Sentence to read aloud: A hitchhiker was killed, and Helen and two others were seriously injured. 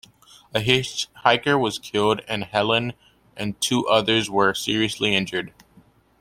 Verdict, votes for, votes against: accepted, 2, 0